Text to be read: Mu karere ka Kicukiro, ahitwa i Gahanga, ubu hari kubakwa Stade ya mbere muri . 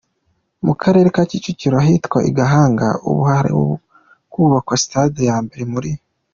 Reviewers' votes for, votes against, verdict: 2, 0, accepted